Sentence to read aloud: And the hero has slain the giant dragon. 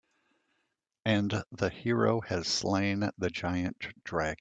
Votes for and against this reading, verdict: 1, 2, rejected